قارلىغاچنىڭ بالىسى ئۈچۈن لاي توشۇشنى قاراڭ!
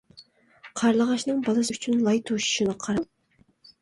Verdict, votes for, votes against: rejected, 0, 2